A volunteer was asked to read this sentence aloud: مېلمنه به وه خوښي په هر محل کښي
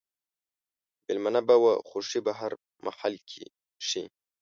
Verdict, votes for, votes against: accepted, 2, 0